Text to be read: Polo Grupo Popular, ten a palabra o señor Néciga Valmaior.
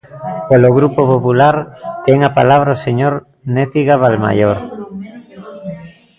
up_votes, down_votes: 1, 2